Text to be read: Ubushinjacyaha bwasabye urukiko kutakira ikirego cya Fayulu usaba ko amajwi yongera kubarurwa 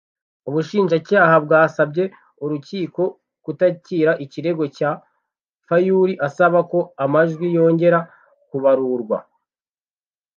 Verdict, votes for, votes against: accepted, 2, 0